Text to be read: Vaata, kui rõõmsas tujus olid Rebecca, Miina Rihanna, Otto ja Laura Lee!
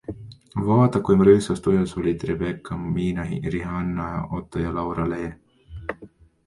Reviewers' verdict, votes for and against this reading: accepted, 2, 1